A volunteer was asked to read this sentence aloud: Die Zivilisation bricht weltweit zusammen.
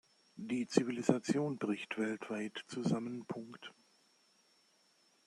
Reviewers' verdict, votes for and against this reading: rejected, 0, 2